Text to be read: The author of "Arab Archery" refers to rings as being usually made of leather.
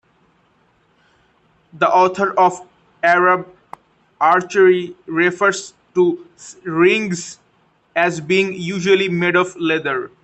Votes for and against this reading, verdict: 2, 0, accepted